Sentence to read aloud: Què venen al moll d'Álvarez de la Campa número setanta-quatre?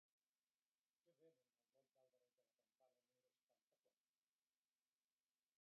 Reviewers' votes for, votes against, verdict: 0, 2, rejected